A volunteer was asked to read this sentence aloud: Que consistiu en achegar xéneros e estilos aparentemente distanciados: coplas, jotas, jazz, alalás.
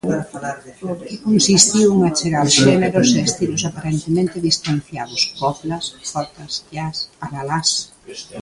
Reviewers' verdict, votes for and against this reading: rejected, 0, 2